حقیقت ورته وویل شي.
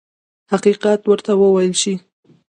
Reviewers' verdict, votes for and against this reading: accepted, 2, 0